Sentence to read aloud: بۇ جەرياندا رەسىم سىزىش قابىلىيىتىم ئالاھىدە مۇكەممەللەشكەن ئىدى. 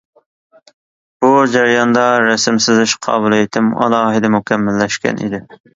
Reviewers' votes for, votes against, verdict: 2, 0, accepted